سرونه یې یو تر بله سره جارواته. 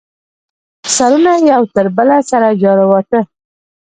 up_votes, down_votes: 0, 2